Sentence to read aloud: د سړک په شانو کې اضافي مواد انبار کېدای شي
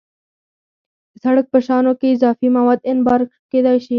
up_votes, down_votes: 0, 4